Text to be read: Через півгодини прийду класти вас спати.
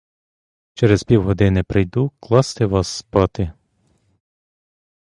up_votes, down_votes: 2, 0